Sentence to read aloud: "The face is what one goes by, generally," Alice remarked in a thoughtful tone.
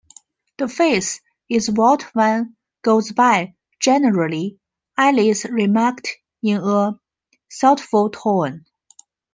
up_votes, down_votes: 2, 0